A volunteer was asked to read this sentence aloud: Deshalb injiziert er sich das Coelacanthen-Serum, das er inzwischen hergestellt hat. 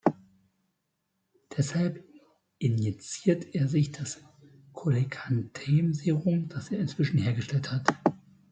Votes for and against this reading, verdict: 2, 0, accepted